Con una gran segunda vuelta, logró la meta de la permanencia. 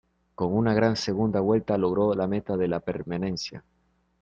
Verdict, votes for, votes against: rejected, 0, 2